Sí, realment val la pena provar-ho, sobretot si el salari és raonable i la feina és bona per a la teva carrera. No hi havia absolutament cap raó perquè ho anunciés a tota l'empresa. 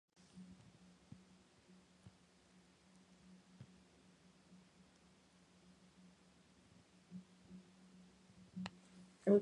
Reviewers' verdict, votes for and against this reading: rejected, 0, 2